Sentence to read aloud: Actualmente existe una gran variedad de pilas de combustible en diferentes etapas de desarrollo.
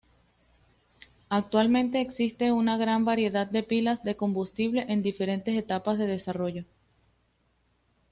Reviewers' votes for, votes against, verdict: 2, 0, accepted